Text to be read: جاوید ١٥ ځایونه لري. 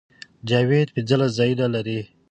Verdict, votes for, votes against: rejected, 0, 2